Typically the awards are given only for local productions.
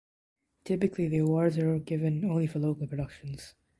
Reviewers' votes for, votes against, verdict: 2, 0, accepted